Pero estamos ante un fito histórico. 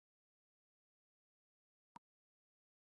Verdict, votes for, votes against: rejected, 0, 2